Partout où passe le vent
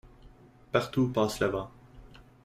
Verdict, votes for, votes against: accepted, 2, 1